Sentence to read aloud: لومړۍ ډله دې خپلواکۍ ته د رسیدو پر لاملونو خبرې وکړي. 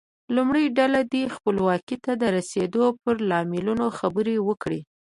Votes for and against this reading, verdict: 2, 0, accepted